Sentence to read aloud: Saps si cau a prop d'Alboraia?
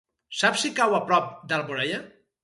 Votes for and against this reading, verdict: 4, 0, accepted